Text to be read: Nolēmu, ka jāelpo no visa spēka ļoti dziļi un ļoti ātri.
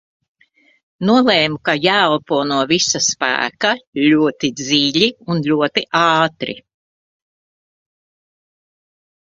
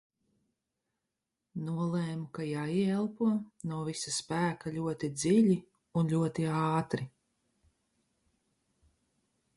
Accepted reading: first